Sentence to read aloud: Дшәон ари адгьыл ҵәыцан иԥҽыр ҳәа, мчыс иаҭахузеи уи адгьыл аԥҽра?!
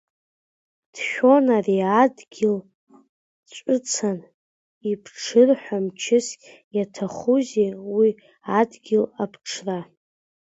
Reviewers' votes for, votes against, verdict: 2, 1, accepted